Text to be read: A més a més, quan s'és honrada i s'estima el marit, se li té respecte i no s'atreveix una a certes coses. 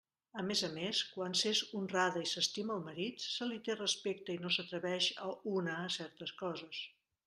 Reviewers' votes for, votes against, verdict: 0, 2, rejected